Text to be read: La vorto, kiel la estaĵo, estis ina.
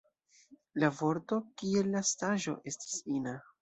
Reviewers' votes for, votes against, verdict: 1, 2, rejected